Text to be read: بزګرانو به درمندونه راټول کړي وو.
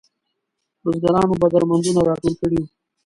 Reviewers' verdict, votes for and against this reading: rejected, 1, 2